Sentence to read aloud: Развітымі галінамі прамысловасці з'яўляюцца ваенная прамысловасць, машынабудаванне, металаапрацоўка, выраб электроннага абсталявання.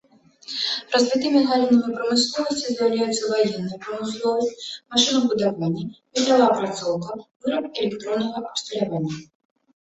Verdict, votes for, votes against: rejected, 0, 2